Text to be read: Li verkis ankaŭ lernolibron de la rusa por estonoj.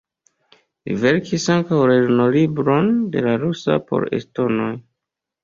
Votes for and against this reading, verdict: 2, 0, accepted